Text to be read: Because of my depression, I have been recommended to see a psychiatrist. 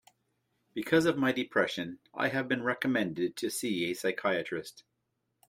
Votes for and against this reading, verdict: 2, 0, accepted